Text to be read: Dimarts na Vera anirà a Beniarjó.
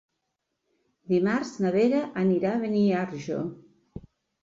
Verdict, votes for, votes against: rejected, 0, 2